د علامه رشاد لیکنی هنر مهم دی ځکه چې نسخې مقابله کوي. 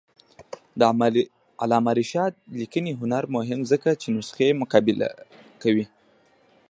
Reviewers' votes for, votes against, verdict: 1, 2, rejected